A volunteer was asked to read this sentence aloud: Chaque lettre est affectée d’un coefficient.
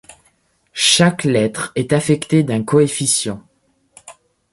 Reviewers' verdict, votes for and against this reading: rejected, 1, 2